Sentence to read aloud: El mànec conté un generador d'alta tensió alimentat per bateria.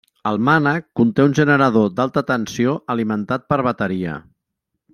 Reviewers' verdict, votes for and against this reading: accepted, 3, 0